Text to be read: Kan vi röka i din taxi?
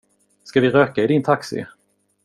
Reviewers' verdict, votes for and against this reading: rejected, 0, 2